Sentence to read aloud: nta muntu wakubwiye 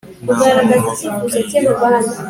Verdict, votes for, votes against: accepted, 3, 1